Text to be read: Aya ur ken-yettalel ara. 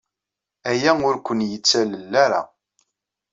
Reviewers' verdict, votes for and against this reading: rejected, 1, 2